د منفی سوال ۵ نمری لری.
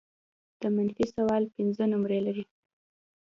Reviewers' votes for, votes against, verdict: 0, 2, rejected